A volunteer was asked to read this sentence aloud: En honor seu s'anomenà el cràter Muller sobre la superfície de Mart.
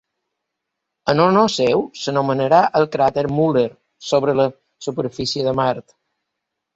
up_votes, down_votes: 1, 2